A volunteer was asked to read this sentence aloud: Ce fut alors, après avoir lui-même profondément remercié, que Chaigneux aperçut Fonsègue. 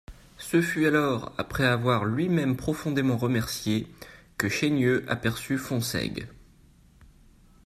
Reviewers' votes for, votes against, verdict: 2, 1, accepted